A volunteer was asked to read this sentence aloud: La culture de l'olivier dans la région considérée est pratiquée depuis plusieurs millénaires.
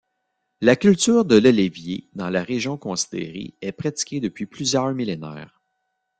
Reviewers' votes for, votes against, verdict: 0, 2, rejected